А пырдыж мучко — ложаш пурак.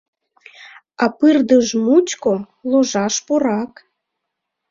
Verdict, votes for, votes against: rejected, 0, 2